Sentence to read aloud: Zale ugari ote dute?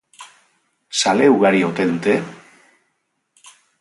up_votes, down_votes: 4, 0